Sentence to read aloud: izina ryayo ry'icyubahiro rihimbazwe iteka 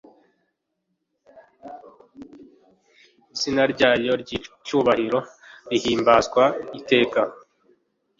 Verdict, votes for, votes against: rejected, 1, 2